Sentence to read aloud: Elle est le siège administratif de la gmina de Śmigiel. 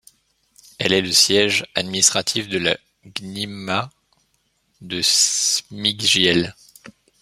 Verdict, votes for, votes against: rejected, 1, 2